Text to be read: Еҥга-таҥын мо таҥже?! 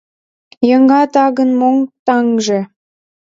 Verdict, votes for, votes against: rejected, 1, 2